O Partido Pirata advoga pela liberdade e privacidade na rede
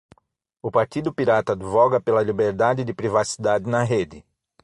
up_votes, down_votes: 0, 6